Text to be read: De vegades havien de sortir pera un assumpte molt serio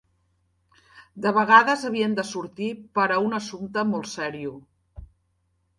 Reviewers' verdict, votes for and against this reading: accepted, 2, 0